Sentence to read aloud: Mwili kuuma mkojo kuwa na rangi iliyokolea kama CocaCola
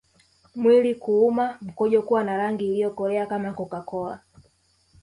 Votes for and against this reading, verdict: 2, 0, accepted